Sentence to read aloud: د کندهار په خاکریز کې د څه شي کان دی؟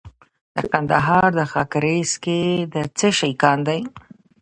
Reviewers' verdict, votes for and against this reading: rejected, 1, 2